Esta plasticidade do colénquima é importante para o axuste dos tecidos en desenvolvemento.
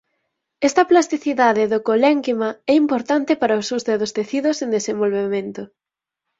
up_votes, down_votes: 4, 0